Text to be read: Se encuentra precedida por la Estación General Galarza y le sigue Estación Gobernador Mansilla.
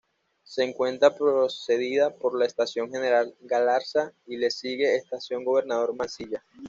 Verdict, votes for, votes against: rejected, 1, 2